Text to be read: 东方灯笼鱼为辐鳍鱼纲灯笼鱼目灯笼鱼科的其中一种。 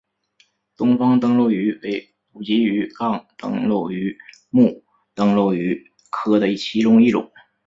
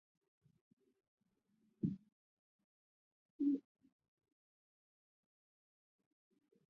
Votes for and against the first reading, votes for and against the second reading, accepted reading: 2, 1, 0, 2, first